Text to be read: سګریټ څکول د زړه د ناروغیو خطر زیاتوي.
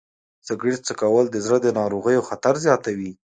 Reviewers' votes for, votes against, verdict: 2, 0, accepted